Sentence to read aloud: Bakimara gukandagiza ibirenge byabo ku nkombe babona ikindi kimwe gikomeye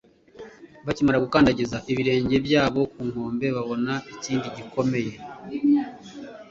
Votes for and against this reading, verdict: 0, 2, rejected